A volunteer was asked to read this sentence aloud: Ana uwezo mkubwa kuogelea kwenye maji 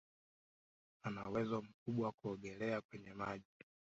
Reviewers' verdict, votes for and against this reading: accepted, 2, 0